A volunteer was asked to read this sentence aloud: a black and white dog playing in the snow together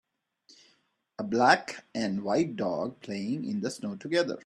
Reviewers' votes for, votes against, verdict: 3, 0, accepted